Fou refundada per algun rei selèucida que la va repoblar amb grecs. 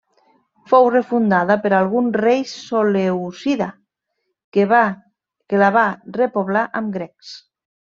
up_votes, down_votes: 0, 3